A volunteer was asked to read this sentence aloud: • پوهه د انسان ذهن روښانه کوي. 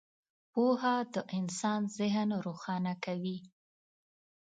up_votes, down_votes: 3, 0